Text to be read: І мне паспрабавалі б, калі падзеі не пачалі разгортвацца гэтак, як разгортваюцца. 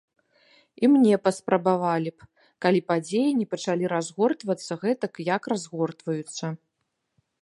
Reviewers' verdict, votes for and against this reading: accepted, 2, 0